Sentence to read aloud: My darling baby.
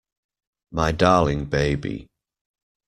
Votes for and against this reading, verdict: 2, 0, accepted